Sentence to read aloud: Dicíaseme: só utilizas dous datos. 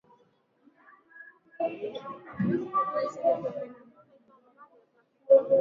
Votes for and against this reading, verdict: 0, 2, rejected